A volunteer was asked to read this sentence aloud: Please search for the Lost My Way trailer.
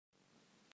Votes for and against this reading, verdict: 0, 2, rejected